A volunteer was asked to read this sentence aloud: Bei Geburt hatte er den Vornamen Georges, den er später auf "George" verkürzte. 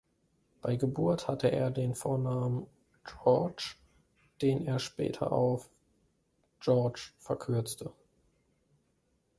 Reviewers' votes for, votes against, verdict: 0, 2, rejected